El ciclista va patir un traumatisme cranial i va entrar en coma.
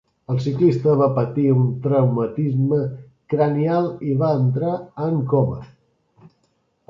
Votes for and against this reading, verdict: 2, 0, accepted